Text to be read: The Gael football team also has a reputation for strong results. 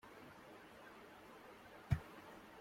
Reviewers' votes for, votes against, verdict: 0, 2, rejected